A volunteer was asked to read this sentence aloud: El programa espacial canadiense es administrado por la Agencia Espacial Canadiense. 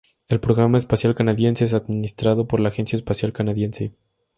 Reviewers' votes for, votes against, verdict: 2, 0, accepted